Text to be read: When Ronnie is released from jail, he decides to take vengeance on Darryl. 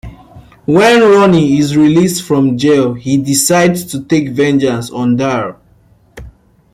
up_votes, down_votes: 2, 0